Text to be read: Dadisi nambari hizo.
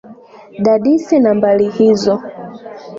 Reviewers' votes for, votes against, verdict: 2, 0, accepted